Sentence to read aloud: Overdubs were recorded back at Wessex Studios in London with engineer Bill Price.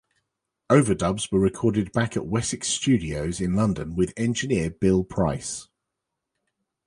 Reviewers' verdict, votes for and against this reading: accepted, 2, 0